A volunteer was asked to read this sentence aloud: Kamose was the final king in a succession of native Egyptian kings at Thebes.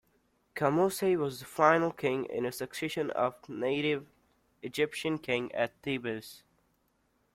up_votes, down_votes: 0, 2